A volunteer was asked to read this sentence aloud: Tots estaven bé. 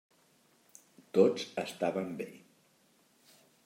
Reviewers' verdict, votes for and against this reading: accepted, 3, 1